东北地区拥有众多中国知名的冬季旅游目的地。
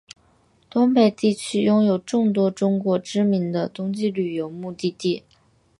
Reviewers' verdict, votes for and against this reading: accepted, 2, 0